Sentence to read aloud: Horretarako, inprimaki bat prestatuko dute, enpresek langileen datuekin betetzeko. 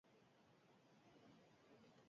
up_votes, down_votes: 0, 6